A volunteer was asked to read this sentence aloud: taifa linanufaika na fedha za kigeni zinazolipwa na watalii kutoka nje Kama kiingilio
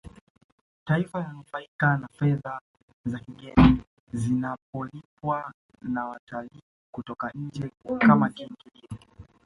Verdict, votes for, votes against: rejected, 1, 3